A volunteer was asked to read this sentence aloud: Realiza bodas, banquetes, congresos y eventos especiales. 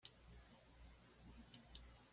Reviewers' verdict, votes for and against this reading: rejected, 1, 2